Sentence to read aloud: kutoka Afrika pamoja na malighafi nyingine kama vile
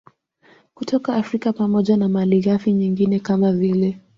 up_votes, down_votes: 2, 0